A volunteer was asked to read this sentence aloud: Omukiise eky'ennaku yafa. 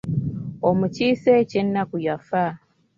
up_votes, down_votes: 1, 2